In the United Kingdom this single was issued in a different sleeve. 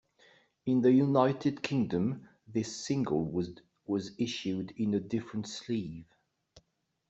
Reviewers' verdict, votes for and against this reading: rejected, 0, 2